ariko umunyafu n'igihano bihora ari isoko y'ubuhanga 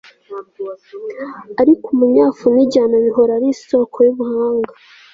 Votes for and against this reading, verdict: 2, 0, accepted